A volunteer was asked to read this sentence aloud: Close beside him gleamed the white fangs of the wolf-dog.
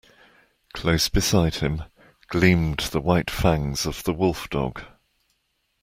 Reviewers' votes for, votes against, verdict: 2, 0, accepted